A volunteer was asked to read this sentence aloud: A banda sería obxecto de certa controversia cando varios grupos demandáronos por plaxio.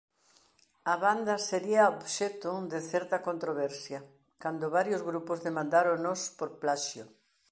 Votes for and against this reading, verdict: 2, 0, accepted